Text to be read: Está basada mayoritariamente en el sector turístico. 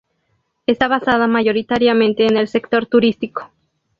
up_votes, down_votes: 2, 0